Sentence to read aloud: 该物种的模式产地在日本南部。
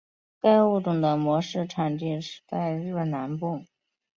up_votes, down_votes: 3, 2